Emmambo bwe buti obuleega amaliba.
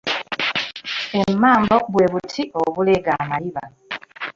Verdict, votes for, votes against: rejected, 1, 2